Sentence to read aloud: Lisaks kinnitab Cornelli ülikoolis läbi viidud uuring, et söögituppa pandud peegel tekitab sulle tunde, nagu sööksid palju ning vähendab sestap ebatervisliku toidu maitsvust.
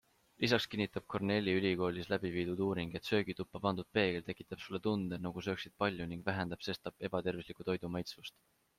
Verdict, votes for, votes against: accepted, 2, 0